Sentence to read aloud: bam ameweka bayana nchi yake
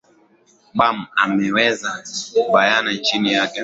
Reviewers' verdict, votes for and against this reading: rejected, 0, 2